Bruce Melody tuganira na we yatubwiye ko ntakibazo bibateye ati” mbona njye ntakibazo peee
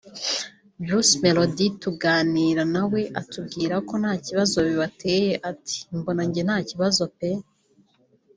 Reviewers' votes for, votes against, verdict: 1, 3, rejected